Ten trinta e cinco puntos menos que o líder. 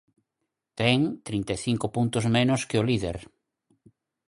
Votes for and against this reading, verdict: 4, 0, accepted